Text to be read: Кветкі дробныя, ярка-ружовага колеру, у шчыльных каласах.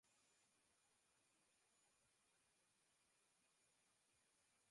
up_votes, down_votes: 0, 3